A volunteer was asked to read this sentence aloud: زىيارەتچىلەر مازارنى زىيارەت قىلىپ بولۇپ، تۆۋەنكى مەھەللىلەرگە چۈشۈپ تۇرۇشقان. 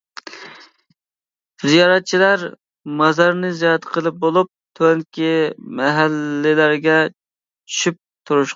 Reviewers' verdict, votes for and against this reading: rejected, 0, 2